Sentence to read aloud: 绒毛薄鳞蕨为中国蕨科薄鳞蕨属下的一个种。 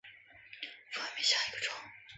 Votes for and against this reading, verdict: 0, 3, rejected